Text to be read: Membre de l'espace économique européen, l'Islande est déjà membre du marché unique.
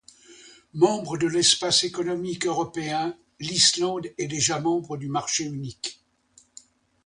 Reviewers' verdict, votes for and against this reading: accepted, 2, 0